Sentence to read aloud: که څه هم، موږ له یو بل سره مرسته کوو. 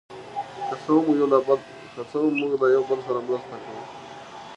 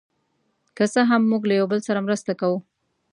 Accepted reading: second